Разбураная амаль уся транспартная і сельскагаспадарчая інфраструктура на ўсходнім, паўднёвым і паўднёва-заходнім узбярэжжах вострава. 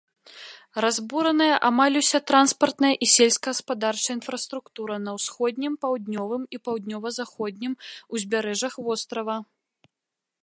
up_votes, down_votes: 2, 0